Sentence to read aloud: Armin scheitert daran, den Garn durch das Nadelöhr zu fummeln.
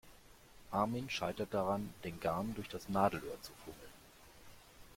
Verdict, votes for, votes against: accepted, 2, 0